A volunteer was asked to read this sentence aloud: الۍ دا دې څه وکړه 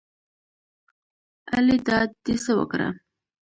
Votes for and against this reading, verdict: 2, 1, accepted